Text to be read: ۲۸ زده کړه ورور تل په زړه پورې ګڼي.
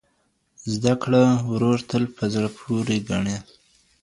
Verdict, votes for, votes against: rejected, 0, 2